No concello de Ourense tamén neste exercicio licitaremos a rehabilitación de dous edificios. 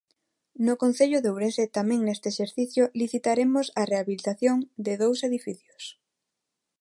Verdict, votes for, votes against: accepted, 2, 0